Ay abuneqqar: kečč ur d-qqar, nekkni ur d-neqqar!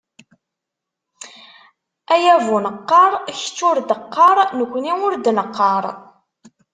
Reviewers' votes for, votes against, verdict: 2, 0, accepted